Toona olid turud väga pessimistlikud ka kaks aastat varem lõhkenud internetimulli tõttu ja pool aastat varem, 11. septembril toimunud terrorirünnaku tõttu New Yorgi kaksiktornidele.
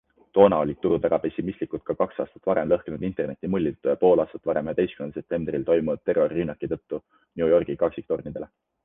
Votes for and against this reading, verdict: 0, 2, rejected